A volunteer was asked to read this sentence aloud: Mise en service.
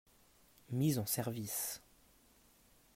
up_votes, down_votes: 2, 0